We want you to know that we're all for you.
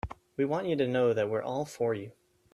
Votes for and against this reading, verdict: 3, 0, accepted